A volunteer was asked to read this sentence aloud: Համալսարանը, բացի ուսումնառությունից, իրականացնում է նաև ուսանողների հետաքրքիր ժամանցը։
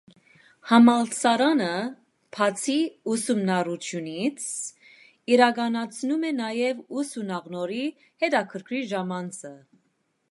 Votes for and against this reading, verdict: 1, 2, rejected